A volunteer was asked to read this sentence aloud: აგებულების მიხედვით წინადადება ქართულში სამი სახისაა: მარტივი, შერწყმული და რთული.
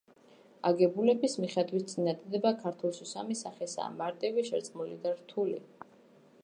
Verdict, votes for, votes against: accepted, 2, 0